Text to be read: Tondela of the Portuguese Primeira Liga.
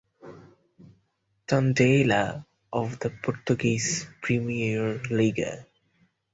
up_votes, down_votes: 4, 0